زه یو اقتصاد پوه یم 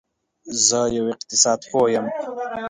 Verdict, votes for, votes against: accepted, 2, 0